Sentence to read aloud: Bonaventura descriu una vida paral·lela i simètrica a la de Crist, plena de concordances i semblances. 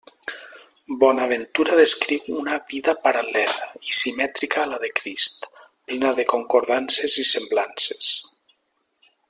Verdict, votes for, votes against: rejected, 0, 2